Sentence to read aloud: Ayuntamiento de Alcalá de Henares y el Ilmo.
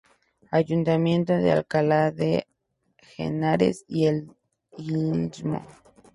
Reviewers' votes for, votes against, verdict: 0, 2, rejected